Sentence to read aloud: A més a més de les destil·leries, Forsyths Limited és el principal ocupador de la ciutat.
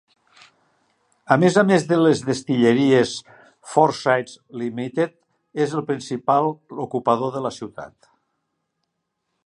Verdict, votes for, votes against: accepted, 2, 1